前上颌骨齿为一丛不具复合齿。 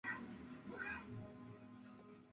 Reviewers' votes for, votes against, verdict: 5, 0, accepted